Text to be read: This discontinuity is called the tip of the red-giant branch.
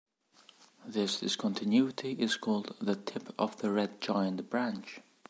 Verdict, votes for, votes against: rejected, 1, 2